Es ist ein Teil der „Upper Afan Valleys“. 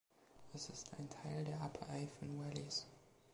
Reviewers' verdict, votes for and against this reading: accepted, 2, 0